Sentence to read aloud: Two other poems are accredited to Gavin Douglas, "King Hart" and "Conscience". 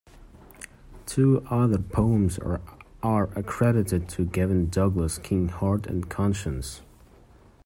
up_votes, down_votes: 0, 2